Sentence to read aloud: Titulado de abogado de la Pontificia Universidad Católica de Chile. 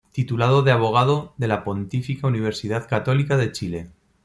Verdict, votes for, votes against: rejected, 1, 2